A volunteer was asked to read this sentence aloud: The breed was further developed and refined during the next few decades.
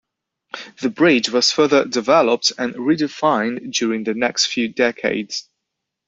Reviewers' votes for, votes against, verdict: 0, 2, rejected